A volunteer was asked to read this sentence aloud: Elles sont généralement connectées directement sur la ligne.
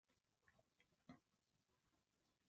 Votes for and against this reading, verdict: 0, 2, rejected